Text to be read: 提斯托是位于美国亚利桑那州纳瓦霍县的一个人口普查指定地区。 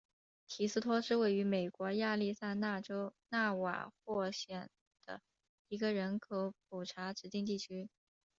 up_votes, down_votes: 2, 0